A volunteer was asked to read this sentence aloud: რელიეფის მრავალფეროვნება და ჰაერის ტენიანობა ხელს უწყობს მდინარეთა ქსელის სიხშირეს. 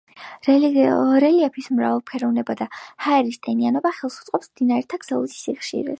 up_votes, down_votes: 0, 2